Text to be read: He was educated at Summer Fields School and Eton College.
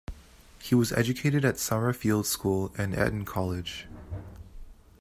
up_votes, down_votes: 0, 2